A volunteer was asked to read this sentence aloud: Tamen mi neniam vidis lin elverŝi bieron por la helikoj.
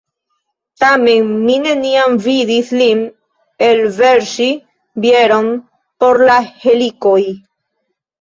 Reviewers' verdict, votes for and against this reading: rejected, 0, 2